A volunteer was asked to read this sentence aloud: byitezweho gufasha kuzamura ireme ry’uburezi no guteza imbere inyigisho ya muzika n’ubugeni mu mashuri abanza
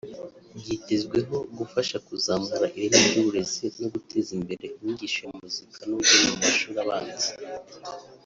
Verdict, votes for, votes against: rejected, 0, 2